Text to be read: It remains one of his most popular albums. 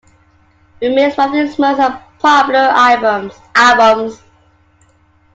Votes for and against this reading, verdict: 1, 2, rejected